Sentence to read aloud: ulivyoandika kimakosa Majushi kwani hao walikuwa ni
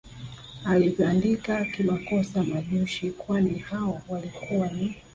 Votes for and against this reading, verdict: 2, 1, accepted